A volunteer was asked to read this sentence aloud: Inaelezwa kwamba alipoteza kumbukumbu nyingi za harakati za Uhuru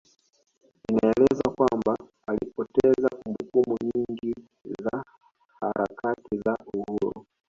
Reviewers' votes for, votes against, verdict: 1, 2, rejected